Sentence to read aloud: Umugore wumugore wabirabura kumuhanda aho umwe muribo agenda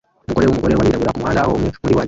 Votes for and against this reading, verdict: 0, 3, rejected